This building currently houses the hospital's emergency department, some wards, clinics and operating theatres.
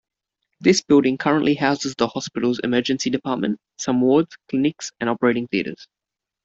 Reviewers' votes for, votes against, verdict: 2, 0, accepted